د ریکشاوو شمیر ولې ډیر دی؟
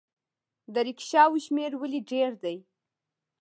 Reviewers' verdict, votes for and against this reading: accepted, 2, 0